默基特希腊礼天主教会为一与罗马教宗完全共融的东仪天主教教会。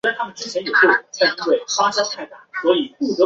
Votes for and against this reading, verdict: 0, 2, rejected